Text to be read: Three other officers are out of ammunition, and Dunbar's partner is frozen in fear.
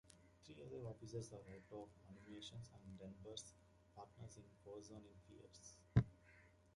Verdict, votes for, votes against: rejected, 0, 2